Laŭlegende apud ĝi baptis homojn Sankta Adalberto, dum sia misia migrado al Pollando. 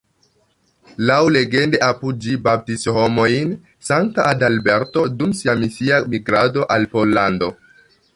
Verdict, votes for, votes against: accepted, 2, 1